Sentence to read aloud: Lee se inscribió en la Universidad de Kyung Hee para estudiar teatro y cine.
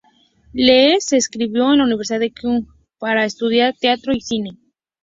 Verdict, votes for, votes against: rejected, 0, 2